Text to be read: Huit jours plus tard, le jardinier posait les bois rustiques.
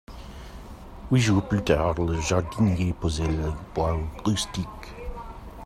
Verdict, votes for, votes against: rejected, 1, 2